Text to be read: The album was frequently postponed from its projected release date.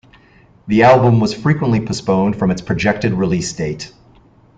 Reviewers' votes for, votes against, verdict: 2, 0, accepted